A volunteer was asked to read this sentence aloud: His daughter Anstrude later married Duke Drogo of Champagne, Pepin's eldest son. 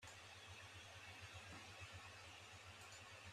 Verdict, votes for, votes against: rejected, 0, 2